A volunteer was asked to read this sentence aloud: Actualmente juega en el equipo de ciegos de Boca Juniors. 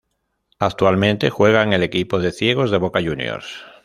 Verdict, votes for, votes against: accepted, 3, 0